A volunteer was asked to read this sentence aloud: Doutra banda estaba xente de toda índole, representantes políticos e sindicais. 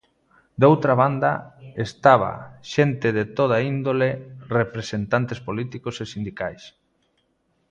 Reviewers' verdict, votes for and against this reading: accepted, 2, 0